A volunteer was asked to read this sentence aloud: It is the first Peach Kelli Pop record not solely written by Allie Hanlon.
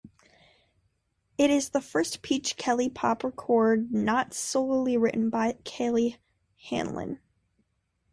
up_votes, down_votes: 1, 2